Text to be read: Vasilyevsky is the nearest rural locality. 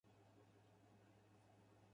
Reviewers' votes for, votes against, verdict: 0, 4, rejected